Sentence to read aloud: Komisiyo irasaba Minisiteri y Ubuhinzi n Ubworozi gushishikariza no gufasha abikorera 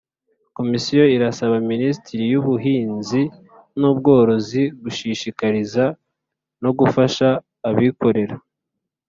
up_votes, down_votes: 3, 0